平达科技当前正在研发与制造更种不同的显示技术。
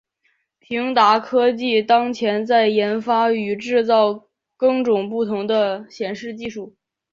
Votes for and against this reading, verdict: 3, 0, accepted